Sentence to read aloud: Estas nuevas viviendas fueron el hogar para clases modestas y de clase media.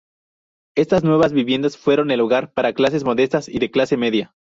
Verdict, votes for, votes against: accepted, 4, 0